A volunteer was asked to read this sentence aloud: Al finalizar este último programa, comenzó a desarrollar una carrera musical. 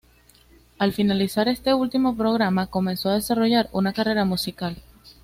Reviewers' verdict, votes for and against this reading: accepted, 2, 0